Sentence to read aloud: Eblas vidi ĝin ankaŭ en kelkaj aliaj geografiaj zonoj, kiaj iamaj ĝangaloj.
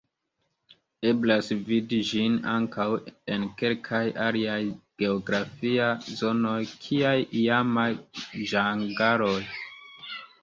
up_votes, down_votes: 2, 0